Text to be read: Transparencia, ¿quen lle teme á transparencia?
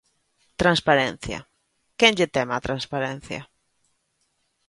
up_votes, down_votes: 2, 1